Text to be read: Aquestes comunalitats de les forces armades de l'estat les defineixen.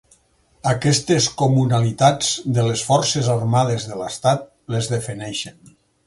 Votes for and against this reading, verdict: 2, 4, rejected